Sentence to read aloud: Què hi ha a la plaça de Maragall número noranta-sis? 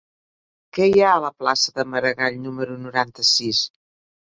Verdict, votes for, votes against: accepted, 3, 0